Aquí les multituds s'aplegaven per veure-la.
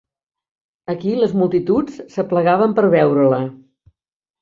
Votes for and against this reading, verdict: 5, 0, accepted